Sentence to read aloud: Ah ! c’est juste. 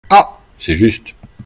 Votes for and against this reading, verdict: 2, 0, accepted